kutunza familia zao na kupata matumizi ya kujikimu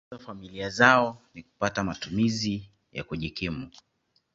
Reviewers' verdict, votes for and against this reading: rejected, 0, 2